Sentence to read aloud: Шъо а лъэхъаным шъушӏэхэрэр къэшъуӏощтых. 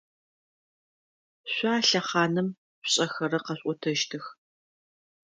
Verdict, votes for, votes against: rejected, 1, 2